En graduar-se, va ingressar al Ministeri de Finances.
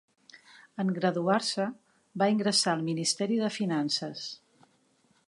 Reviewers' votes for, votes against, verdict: 3, 0, accepted